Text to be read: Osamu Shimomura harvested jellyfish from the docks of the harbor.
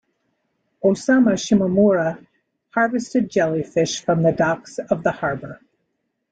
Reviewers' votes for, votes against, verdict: 0, 2, rejected